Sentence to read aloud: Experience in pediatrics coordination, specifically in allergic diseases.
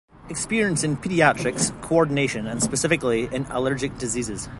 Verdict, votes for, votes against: rejected, 1, 2